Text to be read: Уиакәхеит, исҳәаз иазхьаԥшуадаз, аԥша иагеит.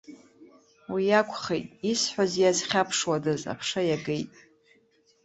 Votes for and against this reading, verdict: 2, 0, accepted